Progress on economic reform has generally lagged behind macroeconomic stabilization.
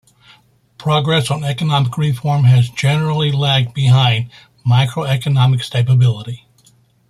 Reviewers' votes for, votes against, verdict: 0, 2, rejected